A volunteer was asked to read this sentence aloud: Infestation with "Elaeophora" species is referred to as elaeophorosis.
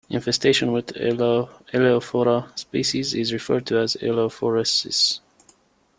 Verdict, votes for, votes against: rejected, 0, 2